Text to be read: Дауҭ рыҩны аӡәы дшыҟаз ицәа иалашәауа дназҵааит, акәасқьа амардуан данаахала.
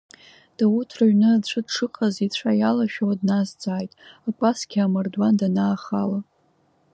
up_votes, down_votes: 2, 0